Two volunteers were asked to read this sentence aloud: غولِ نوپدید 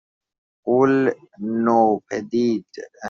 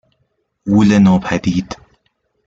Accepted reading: second